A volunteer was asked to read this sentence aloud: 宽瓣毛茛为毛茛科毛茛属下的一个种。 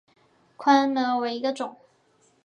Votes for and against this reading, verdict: 0, 5, rejected